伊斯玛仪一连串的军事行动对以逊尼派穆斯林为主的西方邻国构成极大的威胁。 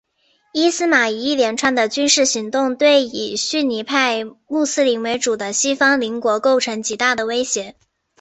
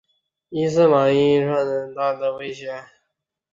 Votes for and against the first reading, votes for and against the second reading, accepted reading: 2, 0, 0, 4, first